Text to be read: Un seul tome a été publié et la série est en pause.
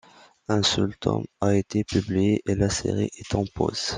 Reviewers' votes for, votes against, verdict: 2, 0, accepted